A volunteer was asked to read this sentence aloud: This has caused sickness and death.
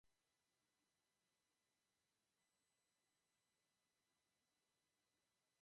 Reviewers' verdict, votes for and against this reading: rejected, 0, 2